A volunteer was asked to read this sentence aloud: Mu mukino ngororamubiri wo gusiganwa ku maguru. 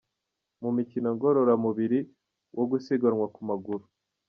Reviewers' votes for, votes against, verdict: 1, 3, rejected